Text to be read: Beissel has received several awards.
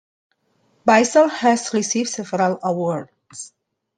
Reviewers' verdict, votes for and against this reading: accepted, 2, 0